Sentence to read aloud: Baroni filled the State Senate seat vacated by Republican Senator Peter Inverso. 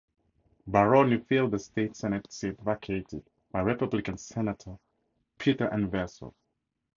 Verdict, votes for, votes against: accepted, 4, 0